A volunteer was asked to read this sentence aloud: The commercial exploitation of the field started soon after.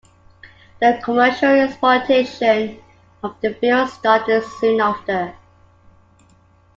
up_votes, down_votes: 2, 1